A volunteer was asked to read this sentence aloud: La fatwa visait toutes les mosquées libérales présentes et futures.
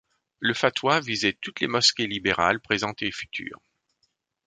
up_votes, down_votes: 0, 2